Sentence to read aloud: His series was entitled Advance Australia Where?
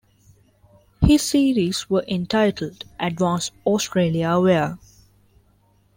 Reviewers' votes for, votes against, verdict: 1, 2, rejected